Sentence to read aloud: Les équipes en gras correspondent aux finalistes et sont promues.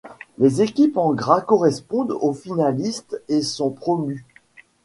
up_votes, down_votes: 2, 0